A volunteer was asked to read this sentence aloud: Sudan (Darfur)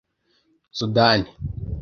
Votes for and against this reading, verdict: 1, 2, rejected